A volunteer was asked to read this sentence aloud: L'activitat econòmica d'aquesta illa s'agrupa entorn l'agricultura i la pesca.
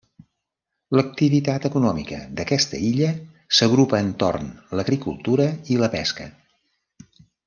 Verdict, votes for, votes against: rejected, 0, 2